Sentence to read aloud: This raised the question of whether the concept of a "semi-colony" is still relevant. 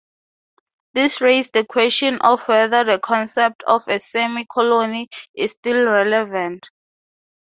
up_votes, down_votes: 2, 0